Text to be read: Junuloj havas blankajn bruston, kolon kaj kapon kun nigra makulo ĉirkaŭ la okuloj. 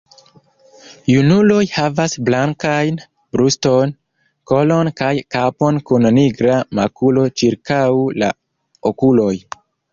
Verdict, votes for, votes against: rejected, 0, 2